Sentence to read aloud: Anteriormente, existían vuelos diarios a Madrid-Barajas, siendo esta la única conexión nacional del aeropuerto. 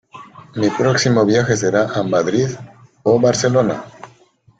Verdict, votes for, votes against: rejected, 0, 2